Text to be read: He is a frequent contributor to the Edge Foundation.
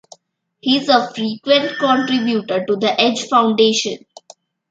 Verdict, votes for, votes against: accepted, 2, 0